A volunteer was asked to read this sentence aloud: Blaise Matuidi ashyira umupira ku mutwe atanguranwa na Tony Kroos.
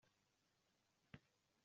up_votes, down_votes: 0, 2